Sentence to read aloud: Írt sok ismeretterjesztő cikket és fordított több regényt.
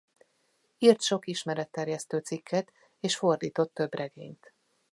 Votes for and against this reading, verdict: 2, 0, accepted